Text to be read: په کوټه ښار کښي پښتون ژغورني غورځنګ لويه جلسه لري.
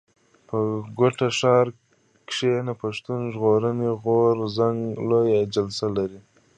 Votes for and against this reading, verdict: 2, 1, accepted